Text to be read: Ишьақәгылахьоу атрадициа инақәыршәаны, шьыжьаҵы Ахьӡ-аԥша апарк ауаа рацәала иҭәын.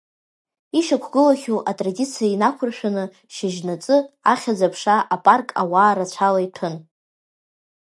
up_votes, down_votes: 2, 1